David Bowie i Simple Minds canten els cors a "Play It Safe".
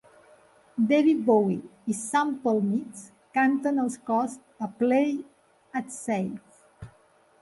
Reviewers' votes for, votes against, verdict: 0, 2, rejected